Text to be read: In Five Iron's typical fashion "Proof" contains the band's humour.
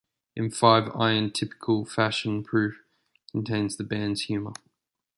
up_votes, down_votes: 0, 2